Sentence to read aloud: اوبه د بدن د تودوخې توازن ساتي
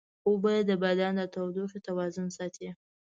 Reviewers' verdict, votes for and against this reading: accepted, 2, 0